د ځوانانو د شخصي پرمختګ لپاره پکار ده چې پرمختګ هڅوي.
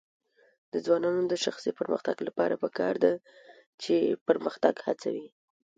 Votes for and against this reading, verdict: 3, 0, accepted